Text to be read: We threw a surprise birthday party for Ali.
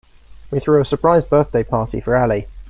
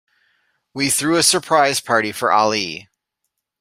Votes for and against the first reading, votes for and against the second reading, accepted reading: 2, 0, 0, 2, first